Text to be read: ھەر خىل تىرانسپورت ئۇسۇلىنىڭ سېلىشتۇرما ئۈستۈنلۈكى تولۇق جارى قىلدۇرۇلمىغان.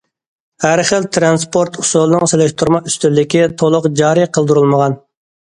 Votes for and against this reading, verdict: 2, 0, accepted